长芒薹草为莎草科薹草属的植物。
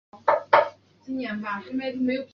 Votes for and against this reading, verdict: 0, 2, rejected